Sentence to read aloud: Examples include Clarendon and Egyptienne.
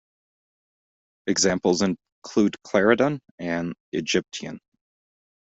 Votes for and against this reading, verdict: 1, 2, rejected